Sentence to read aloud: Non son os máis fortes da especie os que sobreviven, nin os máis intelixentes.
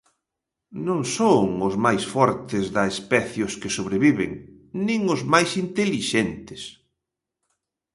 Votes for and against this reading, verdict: 2, 0, accepted